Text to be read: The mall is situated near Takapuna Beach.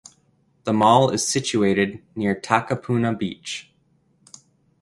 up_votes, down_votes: 2, 1